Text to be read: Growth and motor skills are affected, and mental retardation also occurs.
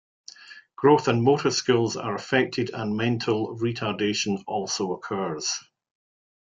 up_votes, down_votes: 2, 0